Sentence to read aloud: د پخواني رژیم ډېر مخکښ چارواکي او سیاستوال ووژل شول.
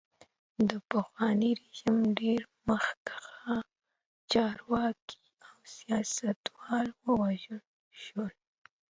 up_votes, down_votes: 2, 0